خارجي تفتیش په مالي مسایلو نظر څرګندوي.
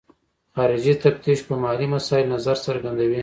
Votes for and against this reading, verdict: 2, 0, accepted